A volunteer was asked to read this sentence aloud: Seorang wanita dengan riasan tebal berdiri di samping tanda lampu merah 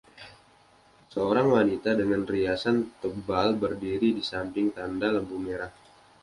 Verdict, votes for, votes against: accepted, 2, 0